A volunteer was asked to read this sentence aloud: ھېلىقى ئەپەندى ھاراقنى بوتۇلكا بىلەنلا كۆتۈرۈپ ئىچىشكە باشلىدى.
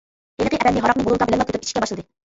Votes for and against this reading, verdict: 0, 2, rejected